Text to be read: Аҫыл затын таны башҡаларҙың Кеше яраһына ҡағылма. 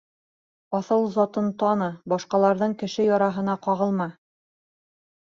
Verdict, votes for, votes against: accepted, 2, 0